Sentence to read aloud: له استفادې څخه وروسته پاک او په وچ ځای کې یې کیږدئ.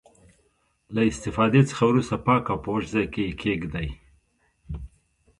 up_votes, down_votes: 2, 0